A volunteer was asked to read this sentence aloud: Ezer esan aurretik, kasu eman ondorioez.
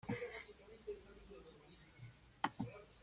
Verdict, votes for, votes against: rejected, 0, 2